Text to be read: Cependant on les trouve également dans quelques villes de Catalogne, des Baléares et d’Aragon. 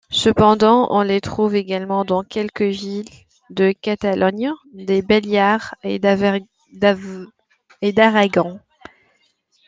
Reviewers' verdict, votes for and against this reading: rejected, 0, 2